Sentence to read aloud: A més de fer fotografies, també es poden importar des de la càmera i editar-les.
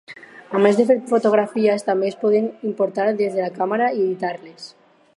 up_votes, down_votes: 4, 0